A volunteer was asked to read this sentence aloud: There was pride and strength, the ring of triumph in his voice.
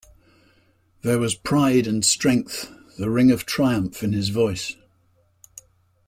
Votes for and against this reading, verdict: 2, 0, accepted